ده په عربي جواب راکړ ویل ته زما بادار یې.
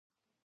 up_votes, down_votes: 0, 2